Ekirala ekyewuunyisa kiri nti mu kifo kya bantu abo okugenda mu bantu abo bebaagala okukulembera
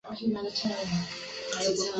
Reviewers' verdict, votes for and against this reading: rejected, 0, 2